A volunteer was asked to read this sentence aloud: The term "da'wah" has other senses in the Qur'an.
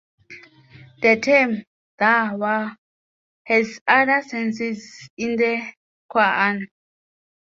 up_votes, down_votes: 2, 0